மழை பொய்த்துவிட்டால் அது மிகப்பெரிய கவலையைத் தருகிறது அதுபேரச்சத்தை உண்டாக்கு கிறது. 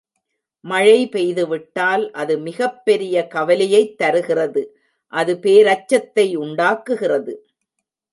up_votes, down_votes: 1, 2